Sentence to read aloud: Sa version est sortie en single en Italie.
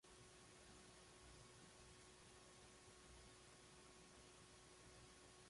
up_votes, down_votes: 0, 2